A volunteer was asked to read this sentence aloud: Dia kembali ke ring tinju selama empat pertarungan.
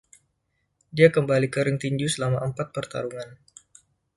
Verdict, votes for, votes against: accepted, 2, 0